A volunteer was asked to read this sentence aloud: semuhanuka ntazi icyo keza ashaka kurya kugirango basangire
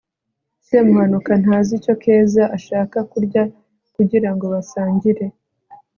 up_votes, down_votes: 2, 0